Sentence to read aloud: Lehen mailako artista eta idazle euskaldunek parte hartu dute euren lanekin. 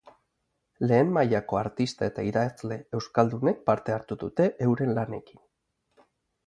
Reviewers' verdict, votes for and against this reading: accepted, 4, 0